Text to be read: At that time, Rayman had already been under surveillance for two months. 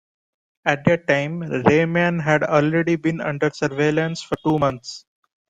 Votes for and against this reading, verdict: 2, 0, accepted